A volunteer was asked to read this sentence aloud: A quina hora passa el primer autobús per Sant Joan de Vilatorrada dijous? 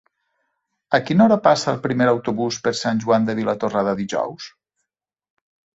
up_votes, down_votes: 2, 0